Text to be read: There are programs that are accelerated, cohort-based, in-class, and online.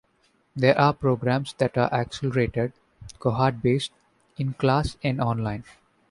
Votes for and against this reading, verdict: 2, 1, accepted